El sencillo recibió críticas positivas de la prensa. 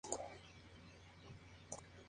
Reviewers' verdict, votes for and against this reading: rejected, 0, 2